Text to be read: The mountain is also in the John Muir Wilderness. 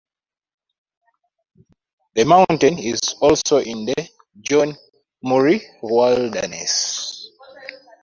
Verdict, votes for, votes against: rejected, 0, 2